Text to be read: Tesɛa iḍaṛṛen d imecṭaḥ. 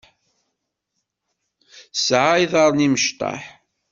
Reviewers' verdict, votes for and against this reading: rejected, 1, 2